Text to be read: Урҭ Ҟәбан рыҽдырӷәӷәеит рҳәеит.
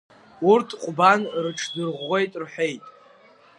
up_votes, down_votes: 1, 2